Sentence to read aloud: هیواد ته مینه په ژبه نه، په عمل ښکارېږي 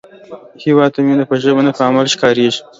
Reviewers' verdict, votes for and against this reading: rejected, 1, 2